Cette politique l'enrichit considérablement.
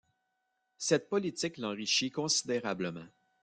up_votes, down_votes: 0, 2